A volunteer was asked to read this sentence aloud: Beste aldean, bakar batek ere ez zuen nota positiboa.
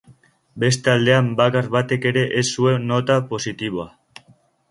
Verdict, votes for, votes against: accepted, 2, 1